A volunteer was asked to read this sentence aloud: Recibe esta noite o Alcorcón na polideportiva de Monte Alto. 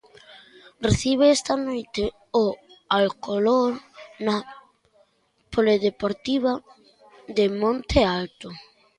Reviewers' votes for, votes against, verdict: 0, 2, rejected